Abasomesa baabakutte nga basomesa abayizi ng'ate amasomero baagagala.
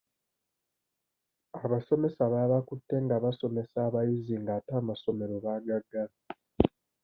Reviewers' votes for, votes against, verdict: 2, 0, accepted